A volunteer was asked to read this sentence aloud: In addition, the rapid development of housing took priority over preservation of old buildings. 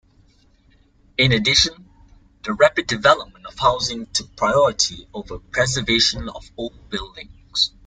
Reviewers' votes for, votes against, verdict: 2, 0, accepted